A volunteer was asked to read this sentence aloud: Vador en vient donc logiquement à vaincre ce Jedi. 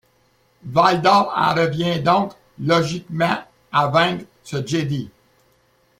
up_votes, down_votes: 1, 2